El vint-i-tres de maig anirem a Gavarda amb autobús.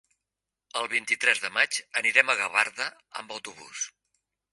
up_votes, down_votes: 3, 0